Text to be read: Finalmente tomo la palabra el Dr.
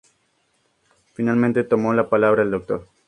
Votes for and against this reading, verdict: 2, 0, accepted